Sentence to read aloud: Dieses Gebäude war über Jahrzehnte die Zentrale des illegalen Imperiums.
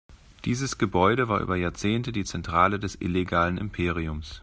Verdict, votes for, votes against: accepted, 2, 0